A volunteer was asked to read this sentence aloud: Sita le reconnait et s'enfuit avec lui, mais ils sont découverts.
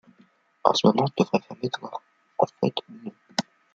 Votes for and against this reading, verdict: 0, 2, rejected